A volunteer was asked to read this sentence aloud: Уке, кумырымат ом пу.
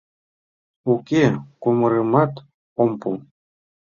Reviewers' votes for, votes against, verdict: 2, 0, accepted